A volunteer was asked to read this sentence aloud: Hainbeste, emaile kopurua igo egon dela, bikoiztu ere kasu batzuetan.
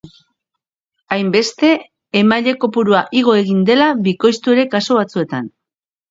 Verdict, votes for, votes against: accepted, 4, 0